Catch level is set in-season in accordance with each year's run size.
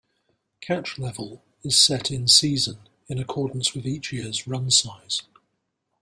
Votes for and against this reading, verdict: 2, 0, accepted